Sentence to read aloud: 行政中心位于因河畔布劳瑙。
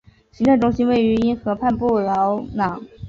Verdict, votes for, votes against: rejected, 0, 2